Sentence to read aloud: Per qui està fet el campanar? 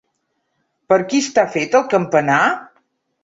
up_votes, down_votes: 2, 0